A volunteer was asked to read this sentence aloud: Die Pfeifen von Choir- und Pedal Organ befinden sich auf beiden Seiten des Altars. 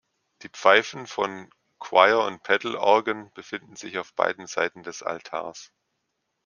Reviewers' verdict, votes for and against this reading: accepted, 3, 0